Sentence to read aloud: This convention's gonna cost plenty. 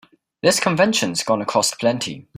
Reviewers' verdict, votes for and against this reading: accepted, 2, 0